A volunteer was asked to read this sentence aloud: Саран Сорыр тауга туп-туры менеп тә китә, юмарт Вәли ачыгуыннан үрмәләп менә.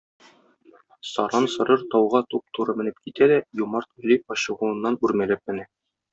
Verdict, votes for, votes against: rejected, 1, 2